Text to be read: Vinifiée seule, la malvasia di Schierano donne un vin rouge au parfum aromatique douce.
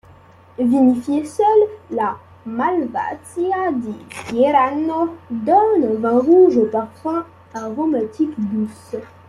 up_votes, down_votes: 1, 2